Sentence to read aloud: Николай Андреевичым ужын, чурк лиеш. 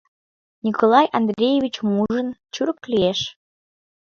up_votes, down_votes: 2, 0